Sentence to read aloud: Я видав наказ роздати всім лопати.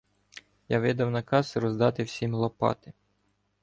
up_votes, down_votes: 2, 0